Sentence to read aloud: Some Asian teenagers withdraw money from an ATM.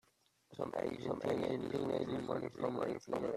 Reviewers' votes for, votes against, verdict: 0, 2, rejected